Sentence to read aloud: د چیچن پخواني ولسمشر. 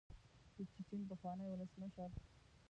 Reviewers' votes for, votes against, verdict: 0, 2, rejected